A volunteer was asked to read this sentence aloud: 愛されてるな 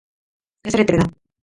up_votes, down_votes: 1, 2